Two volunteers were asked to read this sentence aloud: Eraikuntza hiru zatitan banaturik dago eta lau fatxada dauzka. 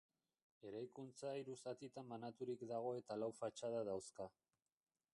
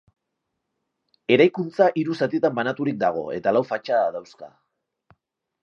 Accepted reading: second